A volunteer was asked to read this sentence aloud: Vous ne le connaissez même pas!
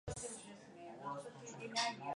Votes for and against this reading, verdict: 0, 2, rejected